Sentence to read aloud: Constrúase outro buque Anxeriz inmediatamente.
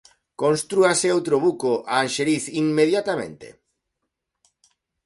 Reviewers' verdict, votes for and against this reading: rejected, 0, 2